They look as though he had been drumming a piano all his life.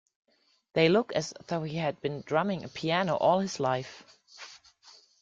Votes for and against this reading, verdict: 2, 0, accepted